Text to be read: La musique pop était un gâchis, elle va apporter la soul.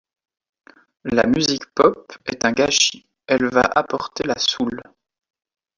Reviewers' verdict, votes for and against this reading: rejected, 1, 2